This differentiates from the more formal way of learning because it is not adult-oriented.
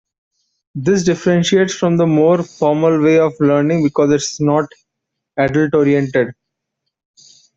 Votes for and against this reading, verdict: 1, 2, rejected